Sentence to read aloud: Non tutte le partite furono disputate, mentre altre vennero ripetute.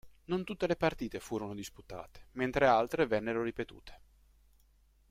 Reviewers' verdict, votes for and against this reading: accepted, 2, 0